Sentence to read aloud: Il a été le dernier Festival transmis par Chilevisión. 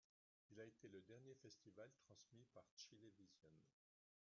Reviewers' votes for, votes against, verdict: 0, 2, rejected